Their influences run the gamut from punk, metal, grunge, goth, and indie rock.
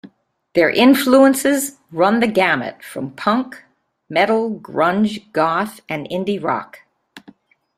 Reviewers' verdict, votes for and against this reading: accepted, 3, 0